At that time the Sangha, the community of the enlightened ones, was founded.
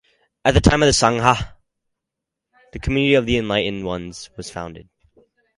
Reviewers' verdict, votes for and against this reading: rejected, 2, 2